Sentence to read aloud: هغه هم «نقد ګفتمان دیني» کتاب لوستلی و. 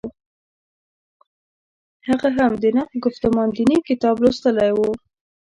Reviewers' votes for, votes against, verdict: 2, 1, accepted